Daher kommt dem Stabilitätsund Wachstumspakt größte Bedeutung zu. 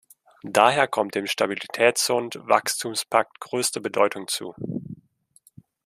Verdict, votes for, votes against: rejected, 1, 2